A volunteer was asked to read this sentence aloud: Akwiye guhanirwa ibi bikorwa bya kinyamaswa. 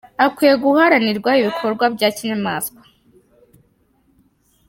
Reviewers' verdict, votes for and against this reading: rejected, 1, 3